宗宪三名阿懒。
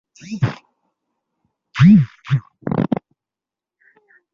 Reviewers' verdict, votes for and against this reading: rejected, 0, 2